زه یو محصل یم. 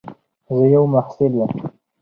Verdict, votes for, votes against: accepted, 4, 2